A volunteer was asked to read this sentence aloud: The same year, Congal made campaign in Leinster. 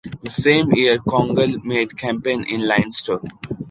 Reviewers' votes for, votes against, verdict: 2, 1, accepted